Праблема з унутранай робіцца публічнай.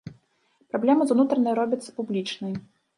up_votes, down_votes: 3, 1